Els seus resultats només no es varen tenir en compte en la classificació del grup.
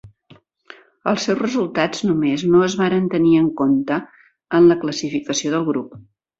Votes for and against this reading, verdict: 3, 0, accepted